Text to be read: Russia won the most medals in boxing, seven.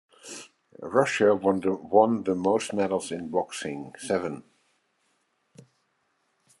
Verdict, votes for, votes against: accepted, 2, 0